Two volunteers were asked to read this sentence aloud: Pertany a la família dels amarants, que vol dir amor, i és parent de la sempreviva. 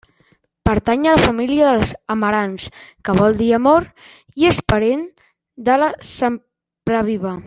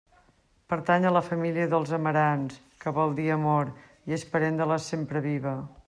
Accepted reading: second